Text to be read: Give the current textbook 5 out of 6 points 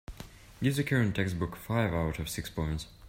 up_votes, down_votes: 0, 2